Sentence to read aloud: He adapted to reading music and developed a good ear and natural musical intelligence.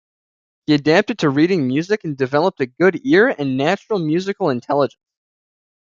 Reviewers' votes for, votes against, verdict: 2, 1, accepted